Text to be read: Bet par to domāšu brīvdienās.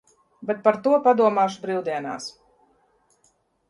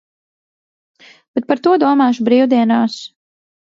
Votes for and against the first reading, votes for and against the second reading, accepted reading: 0, 2, 2, 0, second